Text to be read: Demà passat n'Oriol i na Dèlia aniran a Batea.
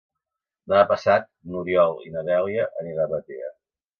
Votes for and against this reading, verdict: 2, 3, rejected